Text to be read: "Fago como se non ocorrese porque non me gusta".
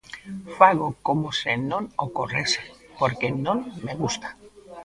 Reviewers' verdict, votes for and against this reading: rejected, 1, 2